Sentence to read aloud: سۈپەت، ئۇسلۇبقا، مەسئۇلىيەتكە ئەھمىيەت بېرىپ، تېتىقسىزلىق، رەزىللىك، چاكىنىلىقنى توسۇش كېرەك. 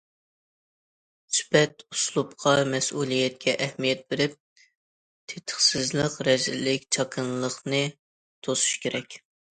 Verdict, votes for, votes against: accepted, 2, 0